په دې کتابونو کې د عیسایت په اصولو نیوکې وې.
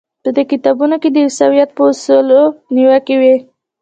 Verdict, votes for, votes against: rejected, 1, 2